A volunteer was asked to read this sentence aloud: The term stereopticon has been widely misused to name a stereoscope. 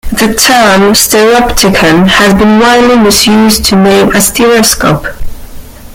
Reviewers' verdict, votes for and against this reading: rejected, 1, 2